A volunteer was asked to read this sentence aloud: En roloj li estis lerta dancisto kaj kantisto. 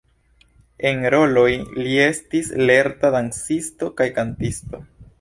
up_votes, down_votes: 1, 2